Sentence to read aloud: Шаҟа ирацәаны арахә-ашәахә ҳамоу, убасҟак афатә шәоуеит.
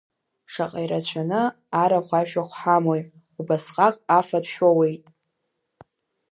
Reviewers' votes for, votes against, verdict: 0, 2, rejected